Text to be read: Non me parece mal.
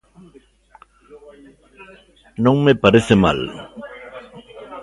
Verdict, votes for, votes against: rejected, 1, 2